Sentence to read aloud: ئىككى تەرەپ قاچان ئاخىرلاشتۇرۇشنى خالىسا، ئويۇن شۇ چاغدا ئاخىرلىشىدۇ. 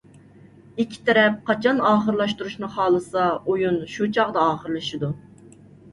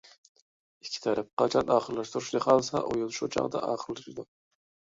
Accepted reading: first